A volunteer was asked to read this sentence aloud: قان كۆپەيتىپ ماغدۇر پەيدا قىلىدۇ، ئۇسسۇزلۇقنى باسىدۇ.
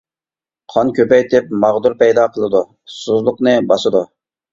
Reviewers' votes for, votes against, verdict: 2, 0, accepted